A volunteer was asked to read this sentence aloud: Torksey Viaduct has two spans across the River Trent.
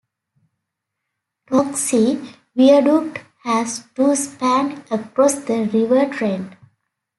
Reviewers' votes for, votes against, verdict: 0, 2, rejected